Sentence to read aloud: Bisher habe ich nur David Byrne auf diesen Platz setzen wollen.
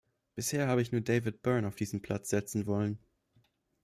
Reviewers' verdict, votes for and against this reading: accepted, 2, 1